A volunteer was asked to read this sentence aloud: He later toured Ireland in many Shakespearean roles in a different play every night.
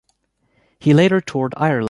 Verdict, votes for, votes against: rejected, 1, 2